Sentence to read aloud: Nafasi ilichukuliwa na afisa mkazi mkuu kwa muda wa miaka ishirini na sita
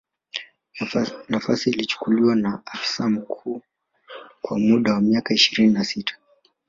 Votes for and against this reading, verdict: 0, 2, rejected